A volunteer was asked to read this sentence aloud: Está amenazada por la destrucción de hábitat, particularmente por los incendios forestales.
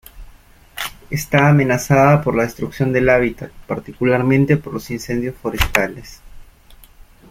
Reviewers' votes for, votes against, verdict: 1, 2, rejected